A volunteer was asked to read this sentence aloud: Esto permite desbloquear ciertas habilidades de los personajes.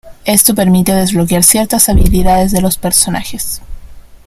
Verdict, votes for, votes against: rejected, 1, 2